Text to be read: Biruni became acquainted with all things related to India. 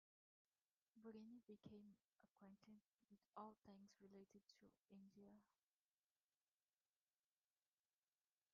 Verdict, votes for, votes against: rejected, 0, 2